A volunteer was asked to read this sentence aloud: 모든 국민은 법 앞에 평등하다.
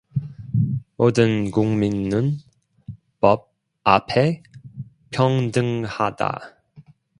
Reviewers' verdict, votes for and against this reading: rejected, 1, 2